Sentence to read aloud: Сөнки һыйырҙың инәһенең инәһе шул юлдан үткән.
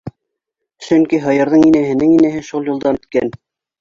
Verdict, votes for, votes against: rejected, 1, 2